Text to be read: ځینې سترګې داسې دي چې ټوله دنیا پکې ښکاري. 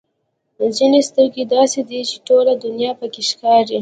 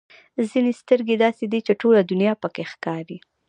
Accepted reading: second